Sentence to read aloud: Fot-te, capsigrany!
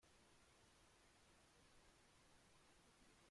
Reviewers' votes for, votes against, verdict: 0, 4, rejected